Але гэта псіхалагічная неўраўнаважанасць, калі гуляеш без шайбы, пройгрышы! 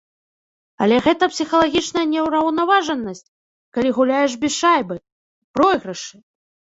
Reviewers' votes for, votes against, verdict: 2, 0, accepted